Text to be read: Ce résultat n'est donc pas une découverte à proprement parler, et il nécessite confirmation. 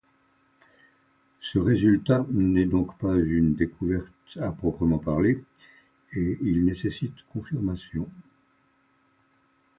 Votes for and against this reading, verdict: 2, 0, accepted